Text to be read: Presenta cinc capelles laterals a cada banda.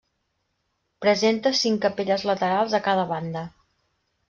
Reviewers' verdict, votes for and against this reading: accepted, 3, 0